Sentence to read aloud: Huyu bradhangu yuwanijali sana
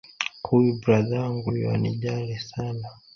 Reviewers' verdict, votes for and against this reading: rejected, 0, 2